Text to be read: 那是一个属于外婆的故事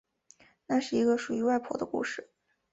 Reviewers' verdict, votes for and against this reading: accepted, 2, 1